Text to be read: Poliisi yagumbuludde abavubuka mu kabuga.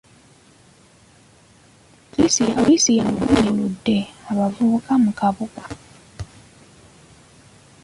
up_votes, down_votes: 0, 2